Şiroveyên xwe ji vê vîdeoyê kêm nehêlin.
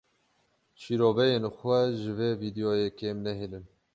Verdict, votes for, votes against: accepted, 12, 6